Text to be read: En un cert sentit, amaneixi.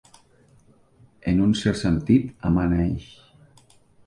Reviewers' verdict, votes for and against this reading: rejected, 0, 2